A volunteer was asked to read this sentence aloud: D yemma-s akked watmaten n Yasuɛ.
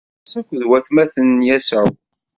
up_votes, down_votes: 1, 2